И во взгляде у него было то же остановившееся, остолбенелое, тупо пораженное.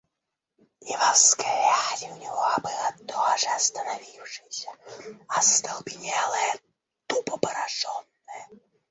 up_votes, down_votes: 2, 1